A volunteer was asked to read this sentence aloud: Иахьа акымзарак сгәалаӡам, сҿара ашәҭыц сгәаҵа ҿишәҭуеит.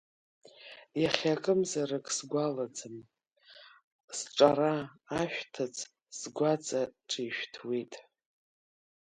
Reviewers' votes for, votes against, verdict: 1, 2, rejected